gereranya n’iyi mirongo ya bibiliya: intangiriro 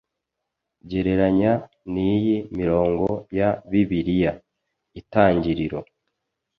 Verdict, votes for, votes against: rejected, 0, 2